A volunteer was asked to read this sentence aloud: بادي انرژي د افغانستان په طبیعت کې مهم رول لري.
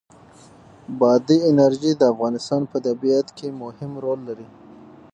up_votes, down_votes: 6, 3